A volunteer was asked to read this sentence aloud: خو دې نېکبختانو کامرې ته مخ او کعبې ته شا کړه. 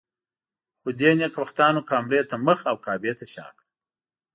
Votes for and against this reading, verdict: 2, 0, accepted